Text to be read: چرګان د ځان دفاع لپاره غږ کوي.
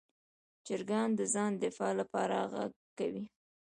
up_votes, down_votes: 0, 2